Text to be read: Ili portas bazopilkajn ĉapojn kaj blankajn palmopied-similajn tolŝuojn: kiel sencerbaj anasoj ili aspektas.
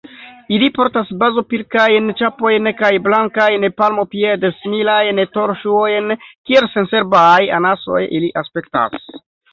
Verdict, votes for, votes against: rejected, 1, 2